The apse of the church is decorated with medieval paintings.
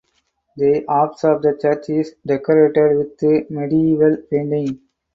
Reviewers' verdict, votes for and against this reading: rejected, 2, 4